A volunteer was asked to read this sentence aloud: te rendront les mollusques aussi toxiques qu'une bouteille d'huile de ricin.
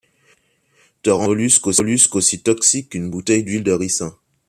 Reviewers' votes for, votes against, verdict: 0, 2, rejected